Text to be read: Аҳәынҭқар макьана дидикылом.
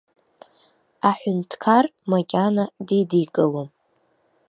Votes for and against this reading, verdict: 2, 0, accepted